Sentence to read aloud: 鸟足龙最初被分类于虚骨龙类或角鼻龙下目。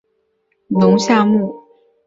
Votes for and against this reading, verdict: 0, 4, rejected